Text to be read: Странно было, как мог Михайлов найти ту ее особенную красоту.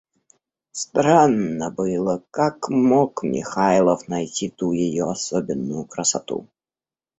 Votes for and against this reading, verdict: 1, 2, rejected